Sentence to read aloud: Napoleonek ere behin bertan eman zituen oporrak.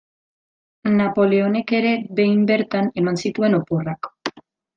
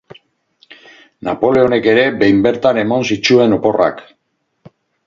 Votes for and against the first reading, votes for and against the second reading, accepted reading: 2, 0, 0, 4, first